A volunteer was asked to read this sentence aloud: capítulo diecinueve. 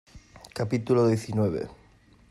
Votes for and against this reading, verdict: 2, 0, accepted